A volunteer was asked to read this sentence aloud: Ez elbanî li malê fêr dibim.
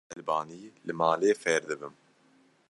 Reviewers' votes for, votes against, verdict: 1, 2, rejected